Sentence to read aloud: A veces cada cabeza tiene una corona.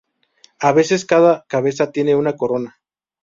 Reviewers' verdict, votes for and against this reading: accepted, 2, 0